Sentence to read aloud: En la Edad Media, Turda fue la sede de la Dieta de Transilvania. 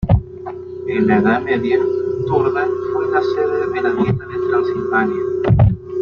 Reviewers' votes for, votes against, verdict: 1, 2, rejected